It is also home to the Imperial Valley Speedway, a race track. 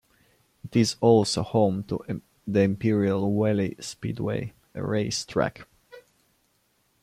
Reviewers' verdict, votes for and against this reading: rejected, 0, 2